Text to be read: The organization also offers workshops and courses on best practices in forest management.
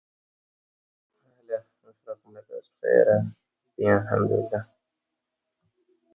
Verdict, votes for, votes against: rejected, 0, 2